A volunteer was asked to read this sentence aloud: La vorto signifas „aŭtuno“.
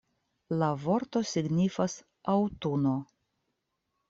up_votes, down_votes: 2, 0